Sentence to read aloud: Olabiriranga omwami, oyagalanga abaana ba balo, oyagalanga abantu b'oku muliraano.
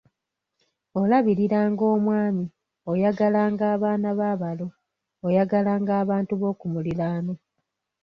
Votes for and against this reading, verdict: 1, 2, rejected